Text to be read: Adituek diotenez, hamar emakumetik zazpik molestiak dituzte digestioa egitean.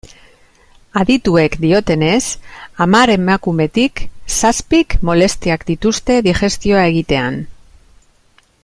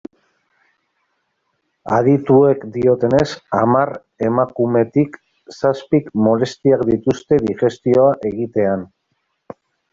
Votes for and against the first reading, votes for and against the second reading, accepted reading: 2, 0, 1, 2, first